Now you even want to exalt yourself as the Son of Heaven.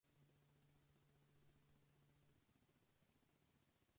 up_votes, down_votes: 0, 2